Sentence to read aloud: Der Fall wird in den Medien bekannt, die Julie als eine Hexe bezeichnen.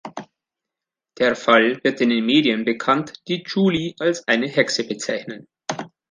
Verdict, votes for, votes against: accepted, 2, 0